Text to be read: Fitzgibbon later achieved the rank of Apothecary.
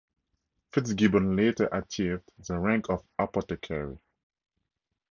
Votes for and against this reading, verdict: 4, 2, accepted